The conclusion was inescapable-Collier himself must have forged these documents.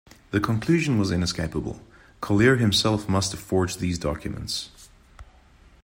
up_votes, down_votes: 2, 0